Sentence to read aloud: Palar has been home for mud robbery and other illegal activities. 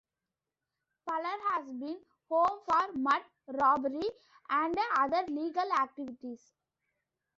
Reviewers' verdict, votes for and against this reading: rejected, 0, 2